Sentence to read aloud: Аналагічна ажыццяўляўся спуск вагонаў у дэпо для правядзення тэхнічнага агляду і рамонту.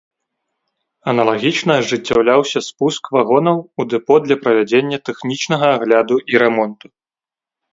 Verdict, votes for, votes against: accepted, 2, 0